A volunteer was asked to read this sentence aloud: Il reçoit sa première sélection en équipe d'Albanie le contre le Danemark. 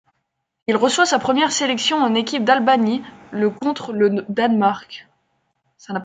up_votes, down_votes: 1, 2